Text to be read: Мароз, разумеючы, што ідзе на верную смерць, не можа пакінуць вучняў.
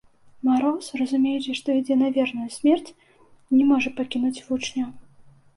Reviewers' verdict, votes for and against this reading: accepted, 2, 0